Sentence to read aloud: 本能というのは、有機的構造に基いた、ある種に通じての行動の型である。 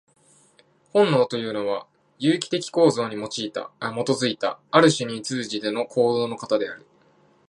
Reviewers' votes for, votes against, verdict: 1, 2, rejected